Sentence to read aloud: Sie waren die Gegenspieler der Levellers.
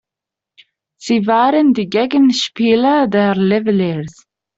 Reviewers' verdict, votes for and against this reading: rejected, 1, 2